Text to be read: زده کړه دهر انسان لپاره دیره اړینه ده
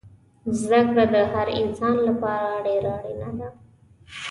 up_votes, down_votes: 2, 0